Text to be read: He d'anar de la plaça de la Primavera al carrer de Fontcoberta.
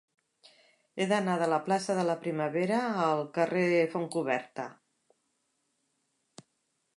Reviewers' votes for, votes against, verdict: 3, 4, rejected